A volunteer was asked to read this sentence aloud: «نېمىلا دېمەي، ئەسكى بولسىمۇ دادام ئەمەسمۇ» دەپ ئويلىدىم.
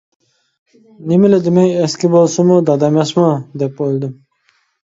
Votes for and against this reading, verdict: 0, 2, rejected